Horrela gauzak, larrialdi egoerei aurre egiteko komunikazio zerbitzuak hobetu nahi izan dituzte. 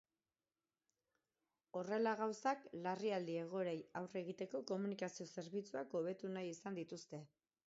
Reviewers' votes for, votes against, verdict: 2, 4, rejected